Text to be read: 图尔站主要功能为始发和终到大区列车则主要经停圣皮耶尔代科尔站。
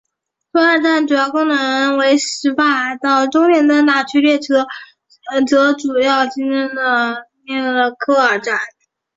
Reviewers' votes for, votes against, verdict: 0, 2, rejected